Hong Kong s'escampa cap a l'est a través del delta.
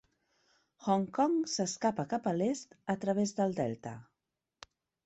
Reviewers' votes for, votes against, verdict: 0, 2, rejected